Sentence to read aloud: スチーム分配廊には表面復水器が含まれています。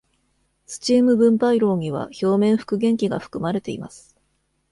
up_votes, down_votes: 1, 2